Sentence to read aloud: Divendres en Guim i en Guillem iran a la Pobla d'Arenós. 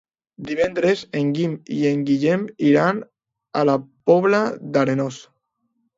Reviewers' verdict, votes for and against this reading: accepted, 2, 0